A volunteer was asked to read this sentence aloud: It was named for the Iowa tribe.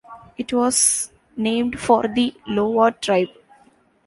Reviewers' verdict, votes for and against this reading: rejected, 1, 2